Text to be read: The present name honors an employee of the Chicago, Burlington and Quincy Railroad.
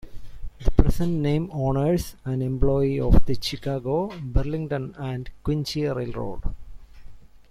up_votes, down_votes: 0, 2